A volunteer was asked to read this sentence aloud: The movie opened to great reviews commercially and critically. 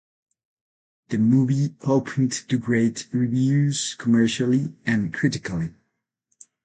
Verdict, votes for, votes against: rejected, 0, 4